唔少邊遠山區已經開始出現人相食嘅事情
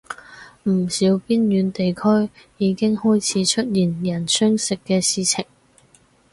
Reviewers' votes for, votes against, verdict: 2, 4, rejected